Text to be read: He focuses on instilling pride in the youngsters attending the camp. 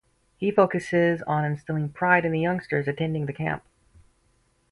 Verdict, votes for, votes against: accepted, 4, 0